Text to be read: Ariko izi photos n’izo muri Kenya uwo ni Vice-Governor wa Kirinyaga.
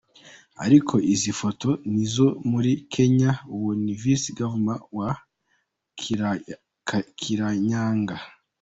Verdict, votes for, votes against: rejected, 0, 2